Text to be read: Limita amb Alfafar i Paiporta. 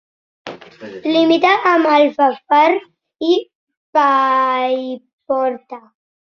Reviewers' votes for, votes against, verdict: 3, 0, accepted